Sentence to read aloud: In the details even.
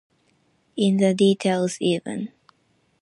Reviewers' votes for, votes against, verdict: 2, 0, accepted